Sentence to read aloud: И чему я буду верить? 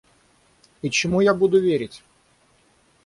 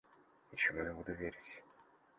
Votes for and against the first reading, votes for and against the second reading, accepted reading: 6, 0, 1, 2, first